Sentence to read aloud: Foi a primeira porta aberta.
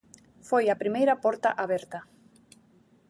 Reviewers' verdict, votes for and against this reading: accepted, 2, 0